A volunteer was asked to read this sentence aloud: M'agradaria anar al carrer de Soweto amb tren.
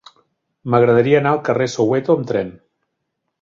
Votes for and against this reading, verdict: 2, 3, rejected